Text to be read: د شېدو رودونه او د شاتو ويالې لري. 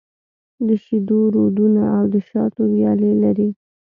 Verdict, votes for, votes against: accepted, 2, 0